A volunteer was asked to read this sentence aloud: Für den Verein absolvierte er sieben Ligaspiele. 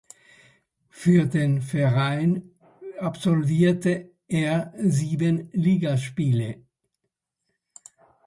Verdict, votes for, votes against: accepted, 2, 0